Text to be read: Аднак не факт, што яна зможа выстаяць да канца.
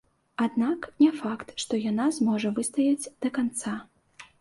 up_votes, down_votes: 2, 0